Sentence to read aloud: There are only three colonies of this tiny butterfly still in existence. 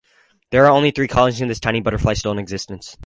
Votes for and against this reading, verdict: 0, 4, rejected